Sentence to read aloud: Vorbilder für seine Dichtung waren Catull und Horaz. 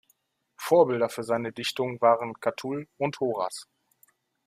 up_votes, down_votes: 2, 0